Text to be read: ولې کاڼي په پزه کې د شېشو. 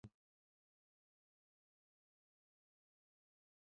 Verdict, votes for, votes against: rejected, 1, 2